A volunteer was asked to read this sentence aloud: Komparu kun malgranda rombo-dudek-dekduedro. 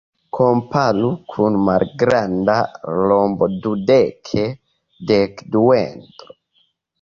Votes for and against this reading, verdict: 2, 0, accepted